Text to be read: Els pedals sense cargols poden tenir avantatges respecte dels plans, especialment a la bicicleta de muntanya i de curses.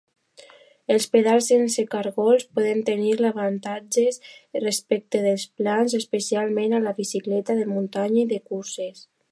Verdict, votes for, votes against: accepted, 2, 0